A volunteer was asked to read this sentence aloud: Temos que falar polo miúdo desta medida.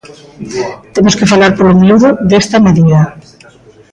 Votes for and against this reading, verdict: 1, 2, rejected